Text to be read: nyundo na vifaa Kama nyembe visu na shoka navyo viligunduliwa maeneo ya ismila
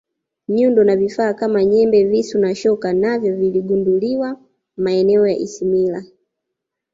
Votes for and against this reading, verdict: 3, 1, accepted